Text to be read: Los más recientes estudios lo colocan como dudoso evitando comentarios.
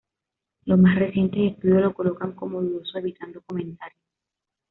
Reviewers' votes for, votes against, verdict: 2, 0, accepted